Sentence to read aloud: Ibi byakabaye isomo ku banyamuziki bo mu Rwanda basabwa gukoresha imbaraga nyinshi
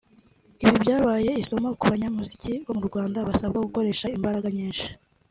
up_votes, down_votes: 1, 2